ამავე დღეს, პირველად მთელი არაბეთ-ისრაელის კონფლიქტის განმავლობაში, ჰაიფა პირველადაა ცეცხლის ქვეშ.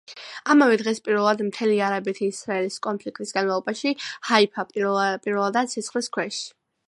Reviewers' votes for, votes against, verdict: 2, 0, accepted